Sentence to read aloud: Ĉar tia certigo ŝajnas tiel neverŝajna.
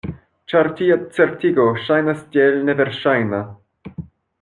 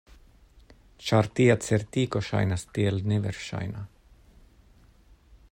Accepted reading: second